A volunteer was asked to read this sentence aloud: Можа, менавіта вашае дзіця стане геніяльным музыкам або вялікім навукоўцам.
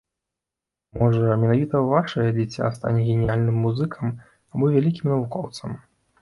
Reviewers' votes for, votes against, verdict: 2, 0, accepted